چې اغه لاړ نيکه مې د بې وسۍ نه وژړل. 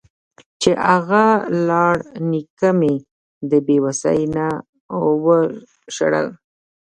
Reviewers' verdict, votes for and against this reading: rejected, 0, 2